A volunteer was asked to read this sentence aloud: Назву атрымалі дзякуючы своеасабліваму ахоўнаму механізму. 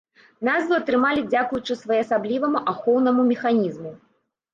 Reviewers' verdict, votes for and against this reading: accepted, 2, 0